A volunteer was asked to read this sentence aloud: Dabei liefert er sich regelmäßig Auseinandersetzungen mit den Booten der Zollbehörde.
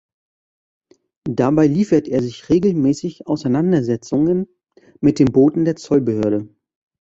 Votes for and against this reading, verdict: 2, 0, accepted